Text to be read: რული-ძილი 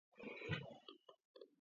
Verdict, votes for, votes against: rejected, 0, 2